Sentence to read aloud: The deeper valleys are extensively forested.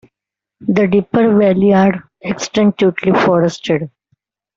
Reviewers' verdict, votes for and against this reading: rejected, 1, 2